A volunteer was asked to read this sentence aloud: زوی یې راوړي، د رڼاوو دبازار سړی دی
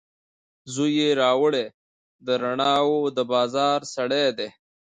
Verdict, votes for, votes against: rejected, 0, 2